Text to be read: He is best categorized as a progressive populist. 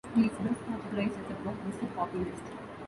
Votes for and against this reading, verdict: 1, 2, rejected